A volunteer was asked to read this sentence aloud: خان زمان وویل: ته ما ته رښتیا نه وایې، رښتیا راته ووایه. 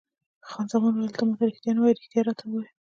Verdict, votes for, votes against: rejected, 1, 2